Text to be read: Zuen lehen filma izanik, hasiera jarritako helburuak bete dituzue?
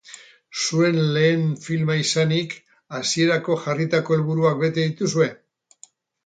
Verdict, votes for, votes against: rejected, 0, 2